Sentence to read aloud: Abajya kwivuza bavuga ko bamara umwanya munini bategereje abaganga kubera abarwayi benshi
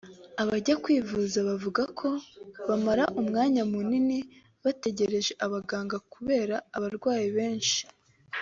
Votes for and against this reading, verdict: 2, 0, accepted